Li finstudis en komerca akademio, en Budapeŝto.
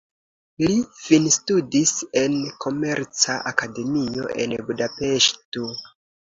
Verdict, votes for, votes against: accepted, 2, 0